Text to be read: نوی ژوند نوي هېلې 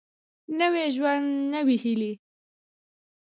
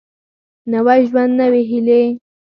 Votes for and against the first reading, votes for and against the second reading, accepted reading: 2, 0, 2, 4, first